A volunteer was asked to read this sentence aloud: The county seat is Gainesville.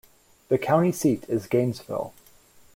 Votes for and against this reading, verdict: 2, 0, accepted